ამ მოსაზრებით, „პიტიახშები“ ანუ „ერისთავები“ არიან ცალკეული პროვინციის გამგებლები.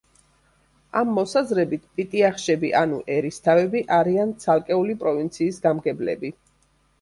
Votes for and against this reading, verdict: 2, 0, accepted